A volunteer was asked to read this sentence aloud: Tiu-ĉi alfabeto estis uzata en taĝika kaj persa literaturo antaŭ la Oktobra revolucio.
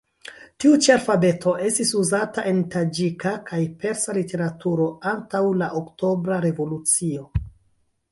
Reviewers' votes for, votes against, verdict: 1, 2, rejected